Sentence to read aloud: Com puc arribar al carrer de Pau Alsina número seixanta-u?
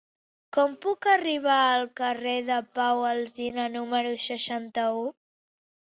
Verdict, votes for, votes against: accepted, 3, 0